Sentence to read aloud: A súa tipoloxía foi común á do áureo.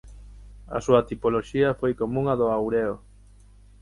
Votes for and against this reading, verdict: 3, 6, rejected